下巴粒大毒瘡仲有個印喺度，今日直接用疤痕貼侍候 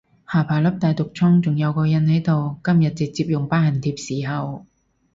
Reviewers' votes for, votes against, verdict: 4, 0, accepted